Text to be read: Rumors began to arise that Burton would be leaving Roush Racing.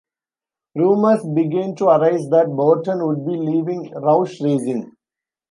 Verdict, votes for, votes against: rejected, 0, 2